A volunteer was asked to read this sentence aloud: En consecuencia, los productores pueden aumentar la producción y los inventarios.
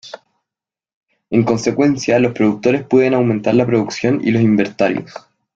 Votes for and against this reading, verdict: 0, 2, rejected